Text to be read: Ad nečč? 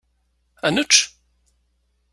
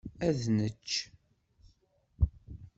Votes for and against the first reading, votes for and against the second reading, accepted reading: 2, 0, 1, 2, first